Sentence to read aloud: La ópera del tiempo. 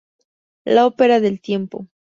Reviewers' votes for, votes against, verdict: 2, 0, accepted